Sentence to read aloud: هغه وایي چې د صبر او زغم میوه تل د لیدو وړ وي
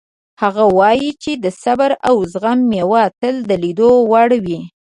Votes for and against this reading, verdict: 2, 0, accepted